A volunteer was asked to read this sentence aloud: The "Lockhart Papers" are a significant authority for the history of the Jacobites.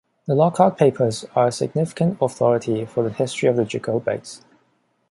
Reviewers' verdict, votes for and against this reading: rejected, 1, 2